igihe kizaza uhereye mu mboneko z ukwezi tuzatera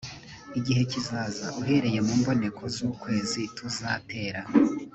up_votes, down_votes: 3, 0